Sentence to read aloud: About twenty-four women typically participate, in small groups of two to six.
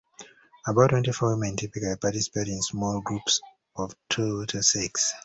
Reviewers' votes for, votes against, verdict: 1, 2, rejected